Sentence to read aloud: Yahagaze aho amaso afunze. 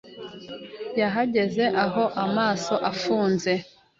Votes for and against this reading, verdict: 3, 0, accepted